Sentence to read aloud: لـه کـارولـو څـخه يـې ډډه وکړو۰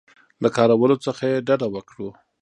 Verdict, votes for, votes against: rejected, 0, 2